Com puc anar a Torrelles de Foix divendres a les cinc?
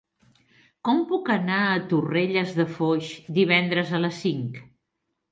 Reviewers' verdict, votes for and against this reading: accepted, 3, 0